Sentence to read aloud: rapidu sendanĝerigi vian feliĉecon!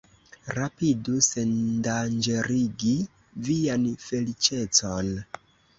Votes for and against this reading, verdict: 1, 2, rejected